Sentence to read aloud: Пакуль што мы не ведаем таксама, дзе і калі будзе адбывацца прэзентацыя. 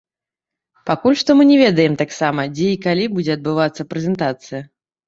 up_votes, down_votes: 0, 2